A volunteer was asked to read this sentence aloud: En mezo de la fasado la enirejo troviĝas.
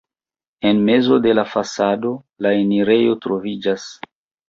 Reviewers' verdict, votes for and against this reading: accepted, 2, 0